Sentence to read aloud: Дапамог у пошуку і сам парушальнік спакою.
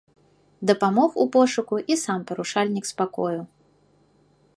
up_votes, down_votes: 2, 1